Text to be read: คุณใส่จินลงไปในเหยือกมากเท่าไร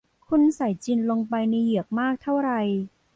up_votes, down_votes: 2, 0